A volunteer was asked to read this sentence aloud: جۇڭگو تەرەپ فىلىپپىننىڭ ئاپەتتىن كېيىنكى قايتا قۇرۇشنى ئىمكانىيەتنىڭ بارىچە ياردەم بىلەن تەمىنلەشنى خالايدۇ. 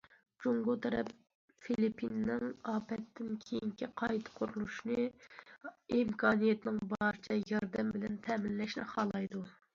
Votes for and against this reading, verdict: 2, 0, accepted